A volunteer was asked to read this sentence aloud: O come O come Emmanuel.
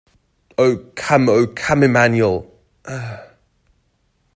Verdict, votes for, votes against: rejected, 1, 2